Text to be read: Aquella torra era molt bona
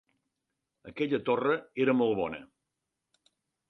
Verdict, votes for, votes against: accepted, 3, 0